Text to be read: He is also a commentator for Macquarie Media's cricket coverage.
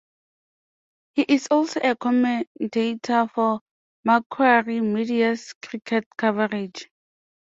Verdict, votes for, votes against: accepted, 2, 0